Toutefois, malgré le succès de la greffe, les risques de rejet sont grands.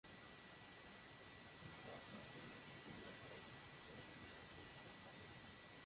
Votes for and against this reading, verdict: 0, 2, rejected